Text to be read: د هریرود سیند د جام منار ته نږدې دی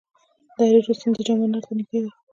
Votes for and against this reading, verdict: 1, 2, rejected